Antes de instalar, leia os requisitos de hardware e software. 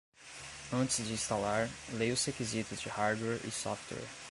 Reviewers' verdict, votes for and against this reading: rejected, 0, 2